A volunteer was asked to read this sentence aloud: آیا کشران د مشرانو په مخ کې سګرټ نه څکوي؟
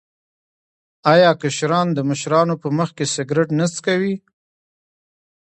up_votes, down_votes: 2, 0